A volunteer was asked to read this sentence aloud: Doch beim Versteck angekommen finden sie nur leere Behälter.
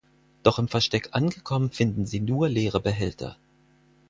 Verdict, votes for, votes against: rejected, 0, 4